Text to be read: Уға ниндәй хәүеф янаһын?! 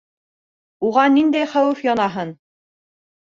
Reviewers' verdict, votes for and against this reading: accepted, 2, 0